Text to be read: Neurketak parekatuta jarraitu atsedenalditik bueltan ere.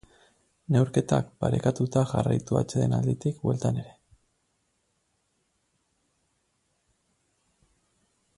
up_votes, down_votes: 4, 2